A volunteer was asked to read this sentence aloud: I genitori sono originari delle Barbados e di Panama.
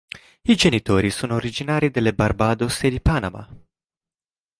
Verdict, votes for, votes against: accepted, 2, 0